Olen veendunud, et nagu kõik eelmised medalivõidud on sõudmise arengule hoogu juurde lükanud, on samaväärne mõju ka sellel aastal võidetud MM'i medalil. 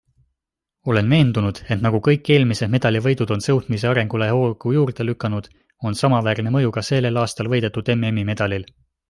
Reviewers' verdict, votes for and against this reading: accepted, 2, 0